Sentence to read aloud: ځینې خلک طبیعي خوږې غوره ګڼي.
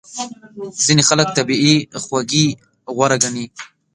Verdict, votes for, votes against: accepted, 2, 0